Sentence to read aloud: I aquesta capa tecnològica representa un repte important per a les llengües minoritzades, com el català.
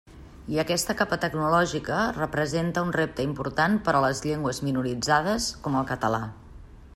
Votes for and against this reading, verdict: 3, 0, accepted